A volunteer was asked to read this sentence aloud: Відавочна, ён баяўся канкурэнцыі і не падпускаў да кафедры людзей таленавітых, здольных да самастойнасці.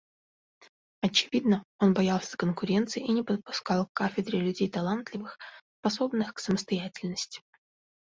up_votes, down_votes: 0, 2